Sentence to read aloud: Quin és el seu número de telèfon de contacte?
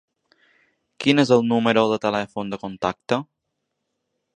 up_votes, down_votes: 1, 2